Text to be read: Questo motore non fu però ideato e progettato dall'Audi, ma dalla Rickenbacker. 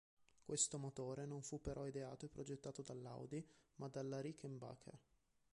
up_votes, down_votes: 0, 2